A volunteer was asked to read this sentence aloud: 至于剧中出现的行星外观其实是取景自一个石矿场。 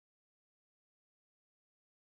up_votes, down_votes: 0, 3